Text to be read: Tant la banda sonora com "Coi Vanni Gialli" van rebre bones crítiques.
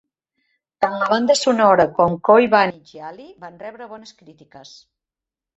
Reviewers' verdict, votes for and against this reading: rejected, 1, 2